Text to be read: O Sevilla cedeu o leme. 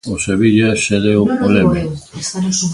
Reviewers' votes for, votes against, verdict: 0, 2, rejected